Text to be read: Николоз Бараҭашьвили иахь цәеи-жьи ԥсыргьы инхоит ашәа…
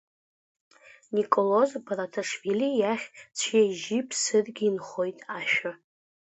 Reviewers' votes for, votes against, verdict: 2, 1, accepted